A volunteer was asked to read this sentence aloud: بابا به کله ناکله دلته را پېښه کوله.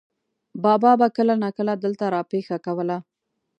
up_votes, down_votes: 2, 0